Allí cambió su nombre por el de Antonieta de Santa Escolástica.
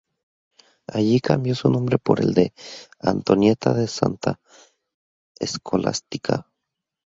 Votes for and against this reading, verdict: 2, 2, rejected